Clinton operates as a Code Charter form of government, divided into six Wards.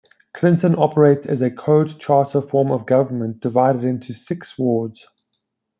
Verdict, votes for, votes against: accepted, 2, 0